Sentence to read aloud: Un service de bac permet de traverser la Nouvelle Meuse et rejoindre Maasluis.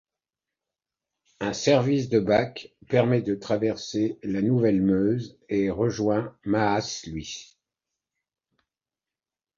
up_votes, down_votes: 1, 2